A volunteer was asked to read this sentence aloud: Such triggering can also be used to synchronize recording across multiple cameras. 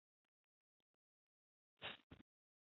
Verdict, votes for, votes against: rejected, 0, 2